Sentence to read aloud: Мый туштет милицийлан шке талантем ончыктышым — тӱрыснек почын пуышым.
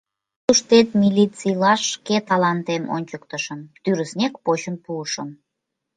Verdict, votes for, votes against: rejected, 1, 2